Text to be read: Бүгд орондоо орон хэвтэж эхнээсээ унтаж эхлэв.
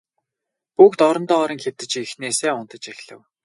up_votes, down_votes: 2, 4